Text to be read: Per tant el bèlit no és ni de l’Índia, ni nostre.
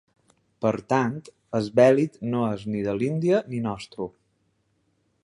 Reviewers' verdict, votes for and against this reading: rejected, 0, 2